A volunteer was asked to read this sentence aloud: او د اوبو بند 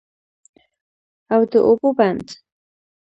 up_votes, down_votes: 2, 0